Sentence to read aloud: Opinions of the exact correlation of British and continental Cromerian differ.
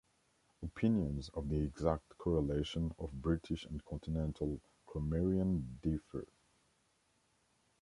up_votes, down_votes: 1, 2